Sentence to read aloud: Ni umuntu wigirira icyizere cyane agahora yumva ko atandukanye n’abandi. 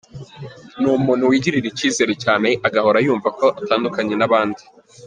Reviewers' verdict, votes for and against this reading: accepted, 2, 0